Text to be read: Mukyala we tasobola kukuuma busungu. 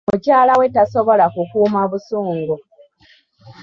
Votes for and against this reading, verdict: 0, 2, rejected